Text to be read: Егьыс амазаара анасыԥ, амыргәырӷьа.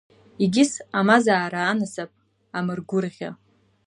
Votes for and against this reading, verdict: 2, 0, accepted